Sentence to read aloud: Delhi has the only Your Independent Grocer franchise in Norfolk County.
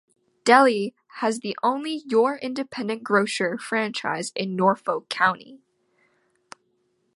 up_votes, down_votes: 2, 0